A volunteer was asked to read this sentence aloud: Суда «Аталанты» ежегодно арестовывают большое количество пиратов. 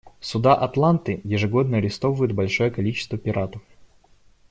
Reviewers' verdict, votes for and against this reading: rejected, 1, 2